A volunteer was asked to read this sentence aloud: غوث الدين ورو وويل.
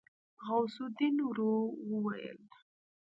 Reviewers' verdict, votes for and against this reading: rejected, 0, 2